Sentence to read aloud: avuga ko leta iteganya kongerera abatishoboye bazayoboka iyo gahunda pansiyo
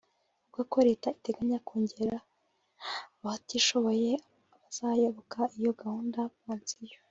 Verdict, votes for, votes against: accepted, 2, 0